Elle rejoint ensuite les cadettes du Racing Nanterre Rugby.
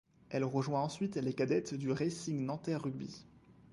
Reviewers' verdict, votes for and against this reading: accepted, 2, 0